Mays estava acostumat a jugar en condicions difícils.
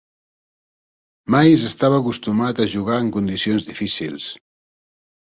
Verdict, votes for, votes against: accepted, 4, 0